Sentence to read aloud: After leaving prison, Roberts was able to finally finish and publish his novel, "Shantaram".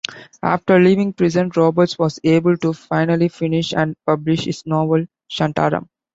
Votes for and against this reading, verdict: 2, 0, accepted